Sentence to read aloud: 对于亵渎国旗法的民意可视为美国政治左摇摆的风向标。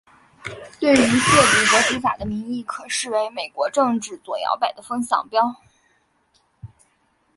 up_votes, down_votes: 0, 2